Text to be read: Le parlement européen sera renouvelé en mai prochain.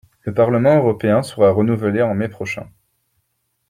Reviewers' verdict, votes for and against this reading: accepted, 2, 0